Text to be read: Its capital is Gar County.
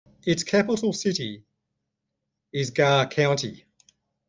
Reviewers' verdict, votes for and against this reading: rejected, 0, 2